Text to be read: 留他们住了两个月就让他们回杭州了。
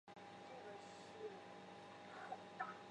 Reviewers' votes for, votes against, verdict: 1, 4, rejected